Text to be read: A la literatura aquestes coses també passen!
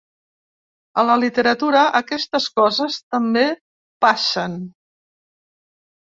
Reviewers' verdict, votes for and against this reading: accepted, 3, 0